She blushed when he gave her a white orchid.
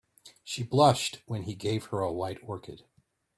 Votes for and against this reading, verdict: 2, 0, accepted